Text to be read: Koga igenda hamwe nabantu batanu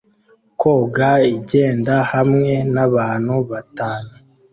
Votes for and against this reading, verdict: 2, 0, accepted